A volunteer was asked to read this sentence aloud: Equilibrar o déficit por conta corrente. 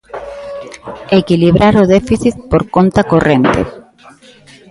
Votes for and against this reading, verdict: 0, 2, rejected